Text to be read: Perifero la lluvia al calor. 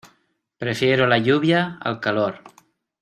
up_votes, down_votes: 0, 2